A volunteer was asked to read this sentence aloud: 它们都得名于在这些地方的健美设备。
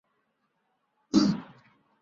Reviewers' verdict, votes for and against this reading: rejected, 2, 7